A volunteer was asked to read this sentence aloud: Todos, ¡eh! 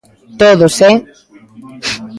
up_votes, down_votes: 1, 2